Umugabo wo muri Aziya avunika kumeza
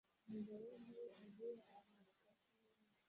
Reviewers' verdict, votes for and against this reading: rejected, 0, 2